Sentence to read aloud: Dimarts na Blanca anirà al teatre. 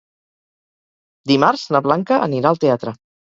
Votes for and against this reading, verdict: 0, 4, rejected